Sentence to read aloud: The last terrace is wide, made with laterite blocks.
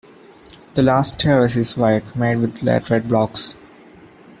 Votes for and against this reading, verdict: 2, 0, accepted